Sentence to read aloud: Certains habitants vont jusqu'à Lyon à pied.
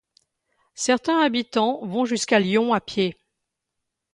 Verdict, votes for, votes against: rejected, 1, 2